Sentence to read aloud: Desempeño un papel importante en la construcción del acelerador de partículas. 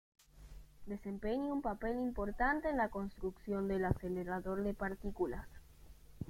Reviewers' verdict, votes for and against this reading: rejected, 0, 2